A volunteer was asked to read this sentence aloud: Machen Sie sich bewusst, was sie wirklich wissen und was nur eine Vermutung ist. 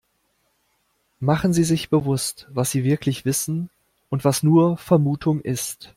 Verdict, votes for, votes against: rejected, 1, 2